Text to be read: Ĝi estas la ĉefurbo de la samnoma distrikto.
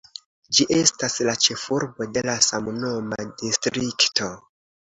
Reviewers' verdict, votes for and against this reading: accepted, 2, 0